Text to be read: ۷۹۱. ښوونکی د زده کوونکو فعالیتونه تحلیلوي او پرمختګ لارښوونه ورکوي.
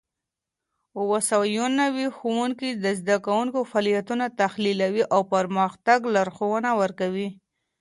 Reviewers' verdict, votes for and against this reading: rejected, 0, 2